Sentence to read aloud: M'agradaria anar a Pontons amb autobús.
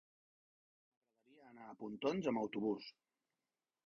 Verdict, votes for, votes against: rejected, 0, 2